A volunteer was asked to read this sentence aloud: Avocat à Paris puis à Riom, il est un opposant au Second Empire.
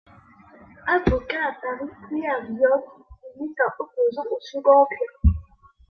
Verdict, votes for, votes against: rejected, 1, 2